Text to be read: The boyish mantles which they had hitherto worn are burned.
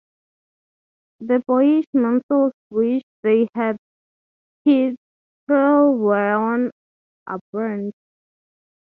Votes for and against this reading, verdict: 3, 0, accepted